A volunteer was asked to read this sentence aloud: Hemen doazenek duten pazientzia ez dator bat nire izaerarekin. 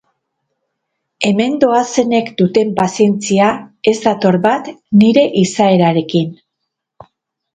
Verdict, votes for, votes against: rejected, 0, 2